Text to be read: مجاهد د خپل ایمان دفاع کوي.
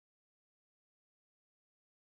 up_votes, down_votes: 1, 5